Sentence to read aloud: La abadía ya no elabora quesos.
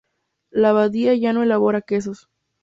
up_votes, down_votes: 2, 0